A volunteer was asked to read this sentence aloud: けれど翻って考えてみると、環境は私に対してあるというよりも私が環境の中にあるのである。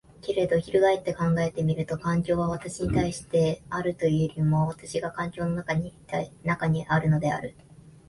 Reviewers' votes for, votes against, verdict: 2, 0, accepted